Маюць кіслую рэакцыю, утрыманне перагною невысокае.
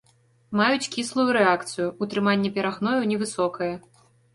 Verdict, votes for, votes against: accepted, 2, 0